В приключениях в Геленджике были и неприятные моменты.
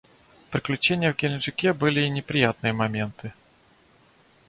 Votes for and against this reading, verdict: 1, 2, rejected